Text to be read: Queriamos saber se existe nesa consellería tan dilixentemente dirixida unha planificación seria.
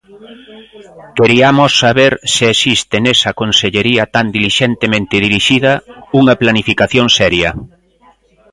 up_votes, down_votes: 1, 2